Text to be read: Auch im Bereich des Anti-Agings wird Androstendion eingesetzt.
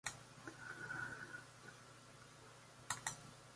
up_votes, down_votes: 0, 2